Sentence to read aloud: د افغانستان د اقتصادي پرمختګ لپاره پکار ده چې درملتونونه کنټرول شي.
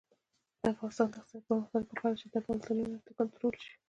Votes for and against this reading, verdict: 0, 2, rejected